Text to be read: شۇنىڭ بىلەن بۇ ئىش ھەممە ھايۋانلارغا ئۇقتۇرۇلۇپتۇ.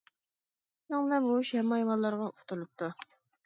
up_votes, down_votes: 1, 2